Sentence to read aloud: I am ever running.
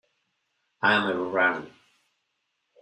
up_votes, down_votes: 1, 2